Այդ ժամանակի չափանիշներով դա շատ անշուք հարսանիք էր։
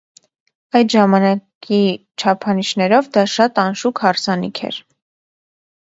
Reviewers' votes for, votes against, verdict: 0, 2, rejected